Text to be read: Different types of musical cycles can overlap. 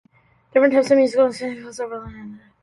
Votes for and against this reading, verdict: 0, 2, rejected